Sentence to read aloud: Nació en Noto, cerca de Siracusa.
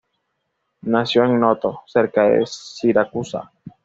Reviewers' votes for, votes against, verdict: 2, 0, accepted